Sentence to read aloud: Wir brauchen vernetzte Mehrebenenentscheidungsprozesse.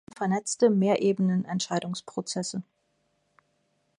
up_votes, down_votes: 1, 2